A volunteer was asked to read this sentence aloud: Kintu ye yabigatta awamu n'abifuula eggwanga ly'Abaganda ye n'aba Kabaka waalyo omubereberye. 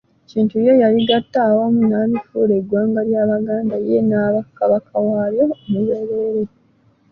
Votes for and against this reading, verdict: 1, 2, rejected